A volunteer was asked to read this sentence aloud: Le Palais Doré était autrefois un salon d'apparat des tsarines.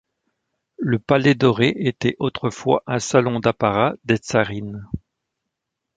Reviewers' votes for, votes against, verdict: 1, 2, rejected